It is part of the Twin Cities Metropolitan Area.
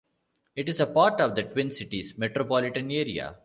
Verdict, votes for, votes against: rejected, 0, 2